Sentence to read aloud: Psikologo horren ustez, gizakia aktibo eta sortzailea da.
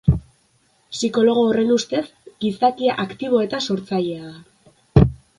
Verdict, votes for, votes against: accepted, 2, 0